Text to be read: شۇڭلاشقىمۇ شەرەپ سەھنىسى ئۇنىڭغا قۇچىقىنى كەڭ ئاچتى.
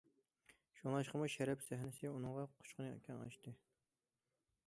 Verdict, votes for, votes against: accepted, 2, 0